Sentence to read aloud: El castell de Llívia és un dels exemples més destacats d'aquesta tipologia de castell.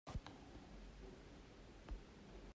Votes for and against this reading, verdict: 0, 2, rejected